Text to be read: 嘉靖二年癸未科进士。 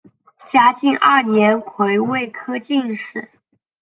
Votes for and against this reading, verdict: 2, 0, accepted